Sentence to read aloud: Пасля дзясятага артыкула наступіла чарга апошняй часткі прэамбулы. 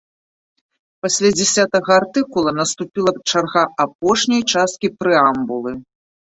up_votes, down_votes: 2, 0